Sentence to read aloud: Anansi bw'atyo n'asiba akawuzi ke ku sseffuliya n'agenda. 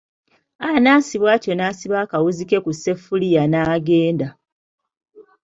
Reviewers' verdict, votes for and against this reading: accepted, 2, 0